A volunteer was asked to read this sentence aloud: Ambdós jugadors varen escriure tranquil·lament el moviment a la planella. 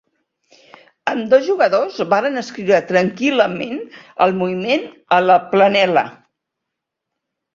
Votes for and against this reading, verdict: 1, 2, rejected